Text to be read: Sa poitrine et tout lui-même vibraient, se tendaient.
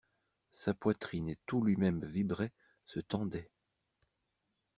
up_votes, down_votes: 2, 0